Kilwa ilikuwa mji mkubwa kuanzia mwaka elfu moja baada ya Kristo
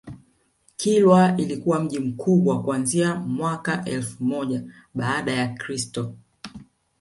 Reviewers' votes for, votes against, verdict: 1, 2, rejected